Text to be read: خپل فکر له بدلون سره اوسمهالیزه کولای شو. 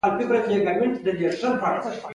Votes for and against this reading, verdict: 2, 1, accepted